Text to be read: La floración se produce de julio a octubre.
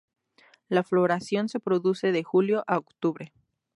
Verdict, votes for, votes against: accepted, 2, 0